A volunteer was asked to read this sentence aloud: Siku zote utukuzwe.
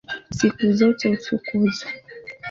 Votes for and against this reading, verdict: 2, 1, accepted